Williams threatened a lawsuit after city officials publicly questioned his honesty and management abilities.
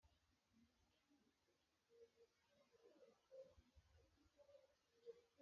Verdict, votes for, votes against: rejected, 0, 2